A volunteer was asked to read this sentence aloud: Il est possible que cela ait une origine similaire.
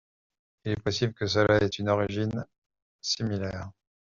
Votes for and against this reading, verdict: 2, 1, accepted